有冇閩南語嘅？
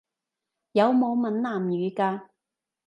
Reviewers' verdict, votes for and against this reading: rejected, 0, 2